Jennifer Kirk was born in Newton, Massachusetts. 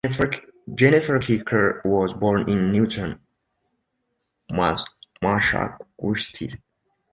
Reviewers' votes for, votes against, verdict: 0, 2, rejected